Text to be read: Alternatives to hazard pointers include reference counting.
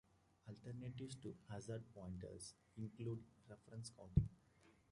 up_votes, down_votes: 0, 2